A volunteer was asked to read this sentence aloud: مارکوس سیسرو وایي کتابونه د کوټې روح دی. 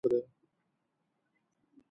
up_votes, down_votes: 1, 2